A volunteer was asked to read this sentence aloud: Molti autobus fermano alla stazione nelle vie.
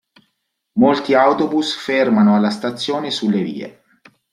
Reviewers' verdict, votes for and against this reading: rejected, 0, 2